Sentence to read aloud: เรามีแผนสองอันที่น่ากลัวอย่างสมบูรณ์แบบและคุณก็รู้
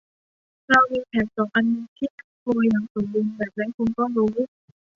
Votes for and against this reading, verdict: 1, 2, rejected